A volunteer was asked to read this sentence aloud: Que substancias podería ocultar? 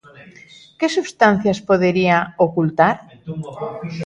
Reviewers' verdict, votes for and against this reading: accepted, 2, 1